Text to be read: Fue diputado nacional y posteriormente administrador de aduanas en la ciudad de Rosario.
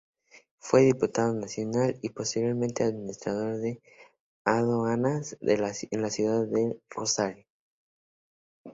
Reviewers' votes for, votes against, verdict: 0, 2, rejected